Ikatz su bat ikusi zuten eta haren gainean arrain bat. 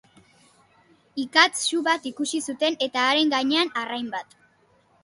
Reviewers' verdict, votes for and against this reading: accepted, 2, 1